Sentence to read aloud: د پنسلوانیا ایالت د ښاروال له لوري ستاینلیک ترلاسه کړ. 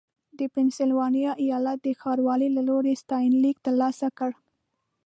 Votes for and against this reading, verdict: 2, 0, accepted